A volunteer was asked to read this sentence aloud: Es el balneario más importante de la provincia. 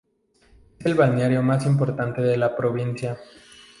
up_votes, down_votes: 2, 2